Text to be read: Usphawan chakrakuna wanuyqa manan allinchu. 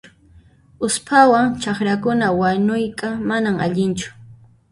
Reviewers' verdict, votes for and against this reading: rejected, 0, 2